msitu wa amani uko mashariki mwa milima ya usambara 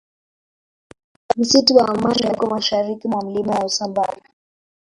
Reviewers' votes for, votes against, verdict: 2, 1, accepted